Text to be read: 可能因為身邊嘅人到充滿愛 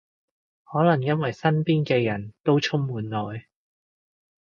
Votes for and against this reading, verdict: 1, 2, rejected